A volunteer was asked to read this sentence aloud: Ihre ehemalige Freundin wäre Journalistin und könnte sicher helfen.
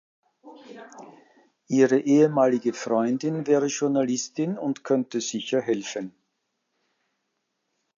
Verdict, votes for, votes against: accepted, 2, 0